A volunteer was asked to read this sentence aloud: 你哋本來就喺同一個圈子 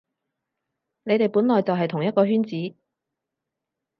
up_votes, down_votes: 0, 4